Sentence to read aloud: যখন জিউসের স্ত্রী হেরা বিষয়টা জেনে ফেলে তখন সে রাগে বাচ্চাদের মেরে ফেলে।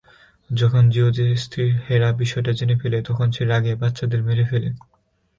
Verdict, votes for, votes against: rejected, 1, 2